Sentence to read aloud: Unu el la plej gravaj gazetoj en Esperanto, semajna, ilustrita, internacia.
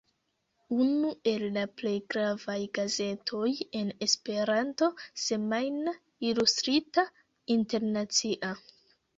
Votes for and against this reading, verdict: 0, 2, rejected